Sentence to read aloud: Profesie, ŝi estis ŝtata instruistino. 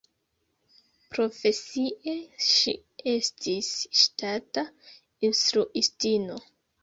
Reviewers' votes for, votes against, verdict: 2, 0, accepted